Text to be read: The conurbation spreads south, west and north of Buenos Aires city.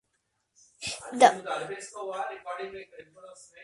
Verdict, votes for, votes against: rejected, 0, 2